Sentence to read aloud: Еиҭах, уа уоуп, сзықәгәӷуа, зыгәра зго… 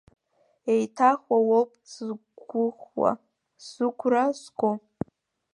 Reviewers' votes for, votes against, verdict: 0, 2, rejected